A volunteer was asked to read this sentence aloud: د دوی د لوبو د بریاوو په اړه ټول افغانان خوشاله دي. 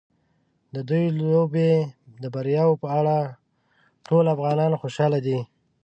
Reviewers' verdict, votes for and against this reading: rejected, 0, 2